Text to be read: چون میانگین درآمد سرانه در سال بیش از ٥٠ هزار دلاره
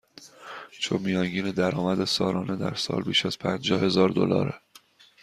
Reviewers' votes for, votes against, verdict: 0, 2, rejected